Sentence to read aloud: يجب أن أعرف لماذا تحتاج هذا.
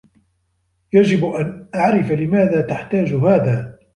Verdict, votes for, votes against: rejected, 1, 2